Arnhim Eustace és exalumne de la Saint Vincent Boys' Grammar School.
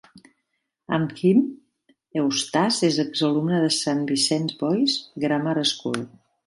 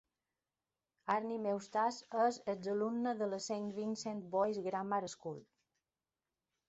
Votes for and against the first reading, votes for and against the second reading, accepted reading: 1, 2, 2, 0, second